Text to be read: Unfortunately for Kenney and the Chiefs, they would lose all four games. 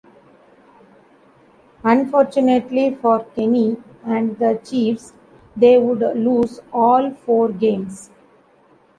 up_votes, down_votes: 2, 1